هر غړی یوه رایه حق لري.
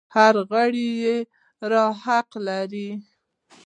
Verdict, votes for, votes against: rejected, 1, 2